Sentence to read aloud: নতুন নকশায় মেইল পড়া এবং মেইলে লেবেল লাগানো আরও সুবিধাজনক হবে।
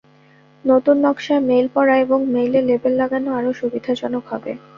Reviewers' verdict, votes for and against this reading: accepted, 2, 0